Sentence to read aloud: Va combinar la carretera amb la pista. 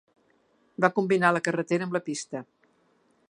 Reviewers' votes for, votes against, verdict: 2, 0, accepted